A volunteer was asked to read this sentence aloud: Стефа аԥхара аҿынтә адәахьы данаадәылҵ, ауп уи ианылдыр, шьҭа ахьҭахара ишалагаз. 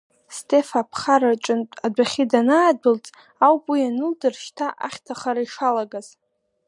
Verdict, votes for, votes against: accepted, 2, 0